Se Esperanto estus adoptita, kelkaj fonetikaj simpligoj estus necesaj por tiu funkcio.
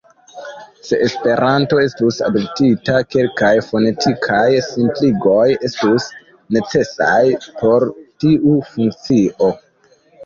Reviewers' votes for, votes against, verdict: 2, 0, accepted